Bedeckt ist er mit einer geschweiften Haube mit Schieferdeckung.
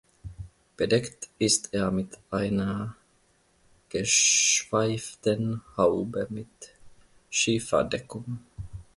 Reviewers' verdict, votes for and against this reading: rejected, 1, 2